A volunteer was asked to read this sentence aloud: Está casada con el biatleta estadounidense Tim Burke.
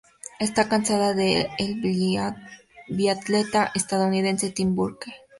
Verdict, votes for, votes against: rejected, 0, 4